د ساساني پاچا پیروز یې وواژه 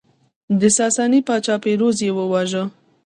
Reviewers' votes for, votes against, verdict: 1, 2, rejected